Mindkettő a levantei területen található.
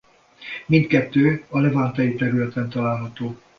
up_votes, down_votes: 2, 1